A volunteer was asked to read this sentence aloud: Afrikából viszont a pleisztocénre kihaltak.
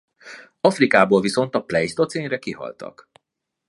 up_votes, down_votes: 2, 0